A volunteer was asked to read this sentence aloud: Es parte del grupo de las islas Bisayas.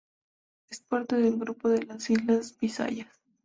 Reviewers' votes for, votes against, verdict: 4, 0, accepted